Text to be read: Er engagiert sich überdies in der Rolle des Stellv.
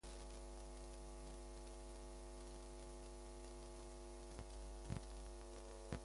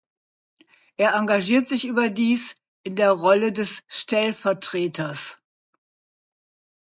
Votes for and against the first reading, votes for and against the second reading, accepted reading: 0, 2, 2, 0, second